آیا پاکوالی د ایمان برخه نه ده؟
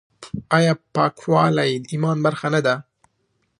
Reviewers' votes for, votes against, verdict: 2, 0, accepted